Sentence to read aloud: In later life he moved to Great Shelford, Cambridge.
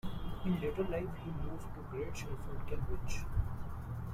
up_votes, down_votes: 1, 2